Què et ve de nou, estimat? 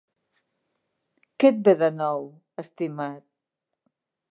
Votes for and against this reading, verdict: 4, 1, accepted